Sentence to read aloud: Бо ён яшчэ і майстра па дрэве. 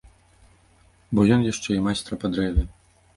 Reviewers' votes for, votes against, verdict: 2, 0, accepted